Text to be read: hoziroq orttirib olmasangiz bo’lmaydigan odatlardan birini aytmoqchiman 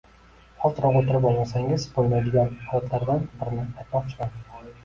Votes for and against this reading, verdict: 0, 2, rejected